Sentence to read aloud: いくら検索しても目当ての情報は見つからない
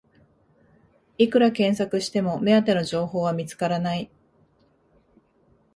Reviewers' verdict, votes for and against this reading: accepted, 5, 2